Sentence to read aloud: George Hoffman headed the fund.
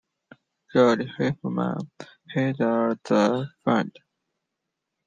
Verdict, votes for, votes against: rejected, 0, 2